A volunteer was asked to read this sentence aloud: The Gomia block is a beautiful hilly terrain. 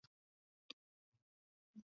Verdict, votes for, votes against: rejected, 0, 2